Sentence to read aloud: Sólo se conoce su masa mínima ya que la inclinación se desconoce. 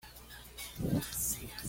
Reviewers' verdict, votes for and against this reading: rejected, 1, 2